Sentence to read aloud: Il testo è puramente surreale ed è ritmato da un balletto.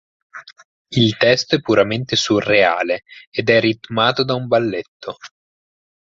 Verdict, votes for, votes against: accepted, 4, 0